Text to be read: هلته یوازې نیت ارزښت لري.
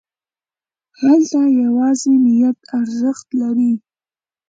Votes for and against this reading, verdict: 2, 1, accepted